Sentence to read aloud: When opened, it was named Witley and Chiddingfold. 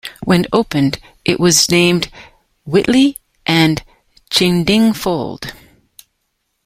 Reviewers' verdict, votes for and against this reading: rejected, 1, 2